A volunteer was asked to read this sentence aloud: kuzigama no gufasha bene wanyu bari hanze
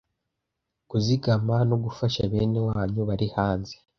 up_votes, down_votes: 2, 0